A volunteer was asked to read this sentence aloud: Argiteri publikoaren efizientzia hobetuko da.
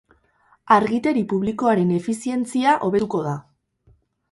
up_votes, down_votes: 2, 4